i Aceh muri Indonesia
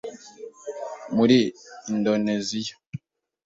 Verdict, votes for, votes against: rejected, 1, 2